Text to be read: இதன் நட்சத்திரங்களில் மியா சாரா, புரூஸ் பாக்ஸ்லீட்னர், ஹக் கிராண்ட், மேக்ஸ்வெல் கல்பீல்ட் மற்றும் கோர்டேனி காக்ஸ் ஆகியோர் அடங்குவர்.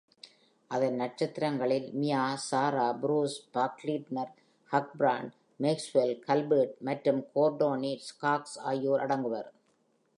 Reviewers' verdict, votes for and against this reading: rejected, 0, 2